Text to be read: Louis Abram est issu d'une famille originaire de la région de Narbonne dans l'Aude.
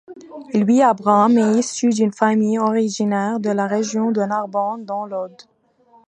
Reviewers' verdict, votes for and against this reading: accepted, 2, 0